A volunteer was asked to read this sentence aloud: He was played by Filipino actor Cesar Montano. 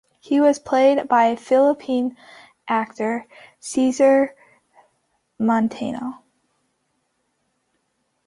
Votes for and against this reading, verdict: 0, 2, rejected